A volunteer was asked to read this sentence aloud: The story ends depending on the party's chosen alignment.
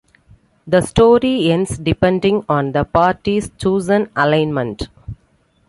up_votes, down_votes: 2, 0